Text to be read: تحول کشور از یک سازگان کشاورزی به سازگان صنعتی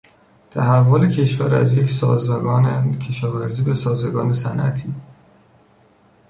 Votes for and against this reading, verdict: 1, 2, rejected